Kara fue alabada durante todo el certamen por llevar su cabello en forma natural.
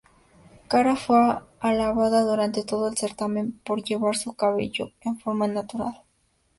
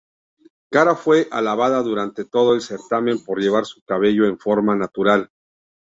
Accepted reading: second